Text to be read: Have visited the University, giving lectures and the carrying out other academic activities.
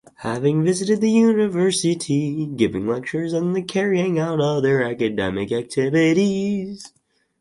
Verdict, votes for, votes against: rejected, 0, 4